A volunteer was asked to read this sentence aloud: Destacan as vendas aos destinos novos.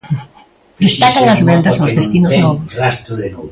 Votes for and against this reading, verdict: 0, 2, rejected